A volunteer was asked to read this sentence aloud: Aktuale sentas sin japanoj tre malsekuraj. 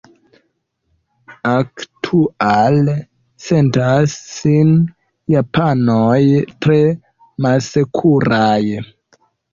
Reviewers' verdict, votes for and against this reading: rejected, 1, 2